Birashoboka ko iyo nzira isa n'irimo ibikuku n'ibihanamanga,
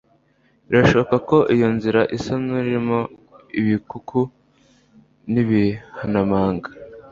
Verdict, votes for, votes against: accepted, 2, 1